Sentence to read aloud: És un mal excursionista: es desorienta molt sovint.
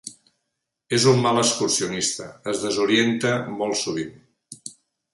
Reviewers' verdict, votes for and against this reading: accepted, 4, 0